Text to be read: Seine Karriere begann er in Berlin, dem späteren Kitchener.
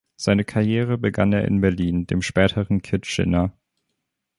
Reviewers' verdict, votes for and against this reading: accepted, 2, 0